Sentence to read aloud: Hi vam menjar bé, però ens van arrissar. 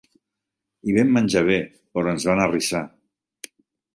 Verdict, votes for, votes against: rejected, 1, 2